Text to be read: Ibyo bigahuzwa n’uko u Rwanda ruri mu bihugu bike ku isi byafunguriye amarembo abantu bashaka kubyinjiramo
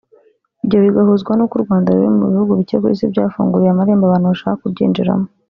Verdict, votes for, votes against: rejected, 0, 2